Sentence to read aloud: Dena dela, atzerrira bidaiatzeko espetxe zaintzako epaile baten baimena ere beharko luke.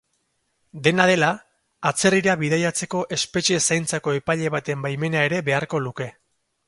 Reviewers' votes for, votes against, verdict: 2, 2, rejected